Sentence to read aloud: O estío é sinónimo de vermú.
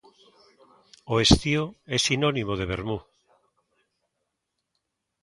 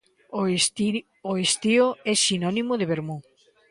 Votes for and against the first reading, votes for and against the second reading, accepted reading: 2, 1, 0, 2, first